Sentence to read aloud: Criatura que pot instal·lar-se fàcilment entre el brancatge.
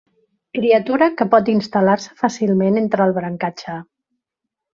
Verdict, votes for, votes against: rejected, 1, 2